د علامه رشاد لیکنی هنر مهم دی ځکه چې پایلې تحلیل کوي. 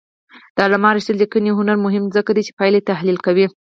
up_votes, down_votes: 2, 4